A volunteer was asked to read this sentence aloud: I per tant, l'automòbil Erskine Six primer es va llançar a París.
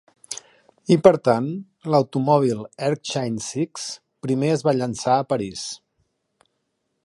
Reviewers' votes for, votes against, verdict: 2, 1, accepted